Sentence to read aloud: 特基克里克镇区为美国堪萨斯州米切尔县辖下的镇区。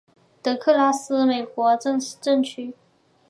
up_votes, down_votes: 0, 2